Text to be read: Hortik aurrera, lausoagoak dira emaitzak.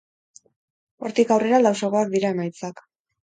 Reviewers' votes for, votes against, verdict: 4, 2, accepted